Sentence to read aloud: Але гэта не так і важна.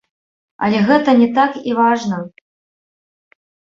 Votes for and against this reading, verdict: 1, 2, rejected